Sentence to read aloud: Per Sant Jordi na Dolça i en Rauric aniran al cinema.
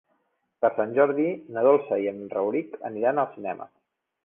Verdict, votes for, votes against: accepted, 3, 0